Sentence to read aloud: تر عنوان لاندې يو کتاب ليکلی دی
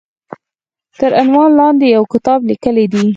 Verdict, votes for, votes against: accepted, 4, 0